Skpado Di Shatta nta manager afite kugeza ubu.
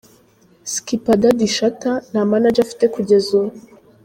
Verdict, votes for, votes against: rejected, 0, 2